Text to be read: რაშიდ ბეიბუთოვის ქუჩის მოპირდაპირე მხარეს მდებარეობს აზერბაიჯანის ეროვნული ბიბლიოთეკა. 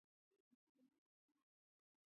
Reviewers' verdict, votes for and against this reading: rejected, 0, 2